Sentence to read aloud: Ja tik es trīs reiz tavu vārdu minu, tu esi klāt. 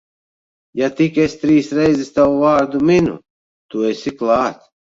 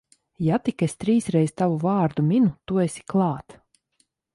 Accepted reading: second